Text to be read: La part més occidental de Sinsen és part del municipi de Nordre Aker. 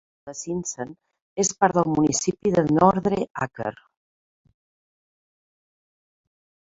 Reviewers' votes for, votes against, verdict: 0, 4, rejected